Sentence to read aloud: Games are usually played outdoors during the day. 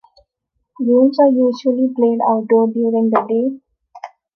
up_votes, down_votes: 0, 2